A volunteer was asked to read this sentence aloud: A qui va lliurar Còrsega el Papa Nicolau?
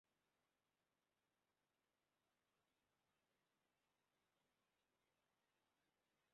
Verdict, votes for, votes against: rejected, 0, 2